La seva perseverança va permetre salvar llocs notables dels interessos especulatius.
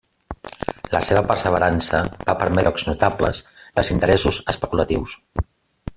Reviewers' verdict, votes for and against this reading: rejected, 0, 2